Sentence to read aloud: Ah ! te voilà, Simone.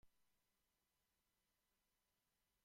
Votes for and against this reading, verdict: 0, 2, rejected